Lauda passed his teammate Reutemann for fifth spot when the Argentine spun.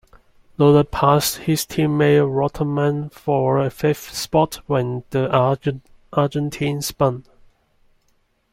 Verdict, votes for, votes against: rejected, 0, 2